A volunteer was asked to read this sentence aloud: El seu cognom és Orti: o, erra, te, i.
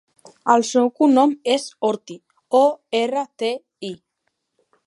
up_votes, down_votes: 3, 0